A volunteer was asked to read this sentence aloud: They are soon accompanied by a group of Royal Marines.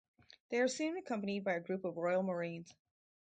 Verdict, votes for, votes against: rejected, 0, 2